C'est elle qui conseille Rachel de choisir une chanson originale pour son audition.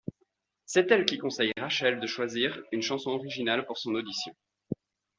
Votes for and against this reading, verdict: 2, 0, accepted